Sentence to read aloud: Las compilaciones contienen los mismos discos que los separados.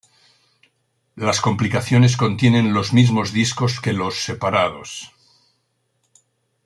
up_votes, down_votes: 0, 2